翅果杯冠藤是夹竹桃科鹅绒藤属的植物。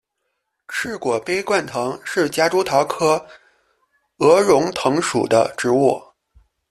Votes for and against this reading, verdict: 2, 0, accepted